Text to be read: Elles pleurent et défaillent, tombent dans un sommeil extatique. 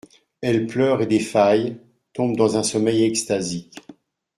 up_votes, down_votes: 0, 2